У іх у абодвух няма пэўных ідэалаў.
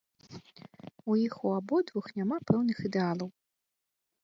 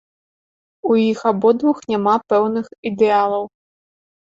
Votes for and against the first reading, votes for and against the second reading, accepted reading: 2, 0, 0, 2, first